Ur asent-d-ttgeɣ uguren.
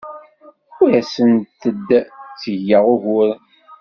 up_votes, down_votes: 1, 2